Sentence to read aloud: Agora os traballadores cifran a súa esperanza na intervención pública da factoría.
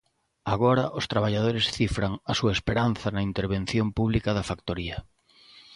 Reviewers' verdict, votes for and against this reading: accepted, 2, 0